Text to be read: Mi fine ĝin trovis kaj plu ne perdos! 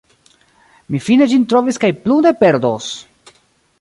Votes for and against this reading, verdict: 0, 2, rejected